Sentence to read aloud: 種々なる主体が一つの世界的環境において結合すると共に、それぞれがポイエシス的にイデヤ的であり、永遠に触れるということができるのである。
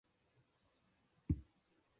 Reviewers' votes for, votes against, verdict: 0, 2, rejected